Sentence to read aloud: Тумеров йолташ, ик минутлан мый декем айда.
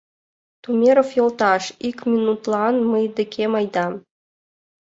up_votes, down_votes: 2, 0